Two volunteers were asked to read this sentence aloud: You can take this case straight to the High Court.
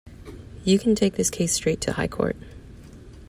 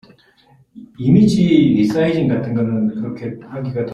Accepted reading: first